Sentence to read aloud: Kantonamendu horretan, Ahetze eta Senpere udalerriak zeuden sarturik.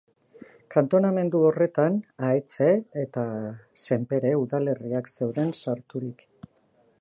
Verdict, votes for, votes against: accepted, 2, 0